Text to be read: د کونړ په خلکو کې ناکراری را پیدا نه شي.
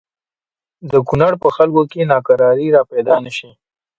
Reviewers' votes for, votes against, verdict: 2, 1, accepted